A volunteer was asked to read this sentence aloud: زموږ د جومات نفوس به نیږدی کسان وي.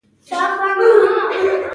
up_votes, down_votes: 1, 2